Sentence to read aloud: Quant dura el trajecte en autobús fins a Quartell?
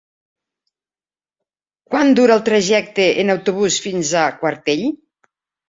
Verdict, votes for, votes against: accepted, 3, 0